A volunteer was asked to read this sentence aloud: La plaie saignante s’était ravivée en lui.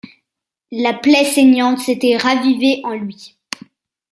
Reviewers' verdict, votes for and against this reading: accepted, 2, 0